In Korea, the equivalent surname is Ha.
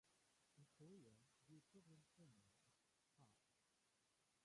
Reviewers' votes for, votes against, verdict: 0, 2, rejected